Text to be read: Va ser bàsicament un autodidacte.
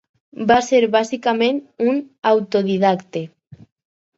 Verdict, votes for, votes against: accepted, 4, 0